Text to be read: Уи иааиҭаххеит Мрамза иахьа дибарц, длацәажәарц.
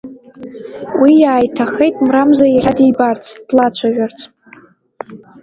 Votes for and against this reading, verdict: 1, 2, rejected